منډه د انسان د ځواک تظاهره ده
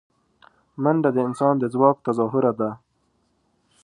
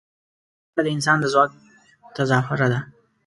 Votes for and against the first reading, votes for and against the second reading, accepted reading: 2, 0, 0, 2, first